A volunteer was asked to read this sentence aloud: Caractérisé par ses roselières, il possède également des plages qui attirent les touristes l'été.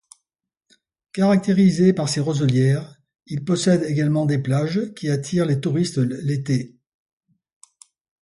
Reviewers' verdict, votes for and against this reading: rejected, 1, 2